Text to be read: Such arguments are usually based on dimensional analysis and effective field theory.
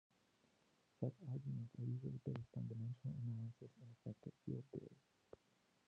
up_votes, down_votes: 0, 2